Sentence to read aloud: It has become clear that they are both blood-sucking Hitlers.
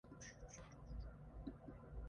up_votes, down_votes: 0, 4